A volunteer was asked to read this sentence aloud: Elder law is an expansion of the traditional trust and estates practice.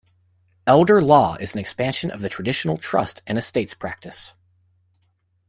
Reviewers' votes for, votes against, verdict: 2, 0, accepted